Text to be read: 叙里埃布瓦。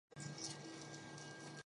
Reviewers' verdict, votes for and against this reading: rejected, 0, 5